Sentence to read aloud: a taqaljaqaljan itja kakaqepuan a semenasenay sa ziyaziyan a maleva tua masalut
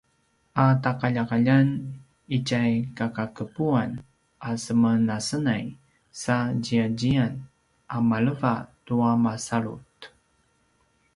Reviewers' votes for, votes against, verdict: 2, 1, accepted